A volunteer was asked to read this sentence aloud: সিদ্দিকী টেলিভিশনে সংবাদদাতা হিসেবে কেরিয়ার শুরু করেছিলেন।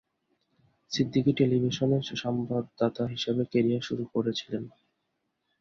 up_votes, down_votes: 2, 0